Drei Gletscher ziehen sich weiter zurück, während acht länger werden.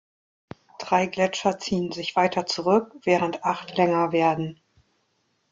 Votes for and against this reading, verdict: 2, 0, accepted